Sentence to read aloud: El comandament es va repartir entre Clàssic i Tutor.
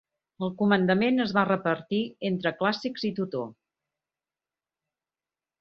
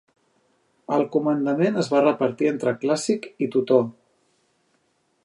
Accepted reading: second